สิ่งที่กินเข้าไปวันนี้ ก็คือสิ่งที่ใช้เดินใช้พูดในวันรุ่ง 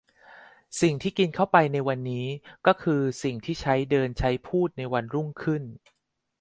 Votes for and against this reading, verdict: 0, 2, rejected